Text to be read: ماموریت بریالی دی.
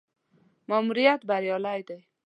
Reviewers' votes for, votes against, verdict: 2, 0, accepted